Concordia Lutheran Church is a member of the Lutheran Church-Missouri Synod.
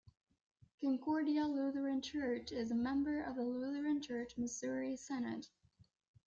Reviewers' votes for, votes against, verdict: 2, 0, accepted